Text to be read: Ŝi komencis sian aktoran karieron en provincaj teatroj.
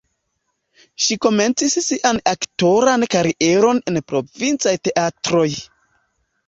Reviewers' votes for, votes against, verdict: 0, 2, rejected